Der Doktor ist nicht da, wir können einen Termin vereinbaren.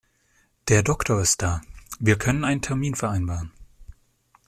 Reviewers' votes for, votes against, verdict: 0, 2, rejected